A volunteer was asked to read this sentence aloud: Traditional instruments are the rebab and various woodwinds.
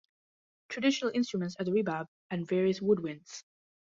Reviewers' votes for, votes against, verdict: 2, 0, accepted